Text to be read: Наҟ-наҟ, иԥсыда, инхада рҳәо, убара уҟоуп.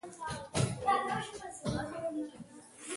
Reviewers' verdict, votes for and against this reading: rejected, 0, 2